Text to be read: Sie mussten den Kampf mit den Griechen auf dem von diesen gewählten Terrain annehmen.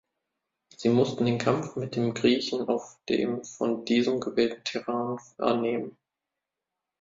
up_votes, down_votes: 0, 2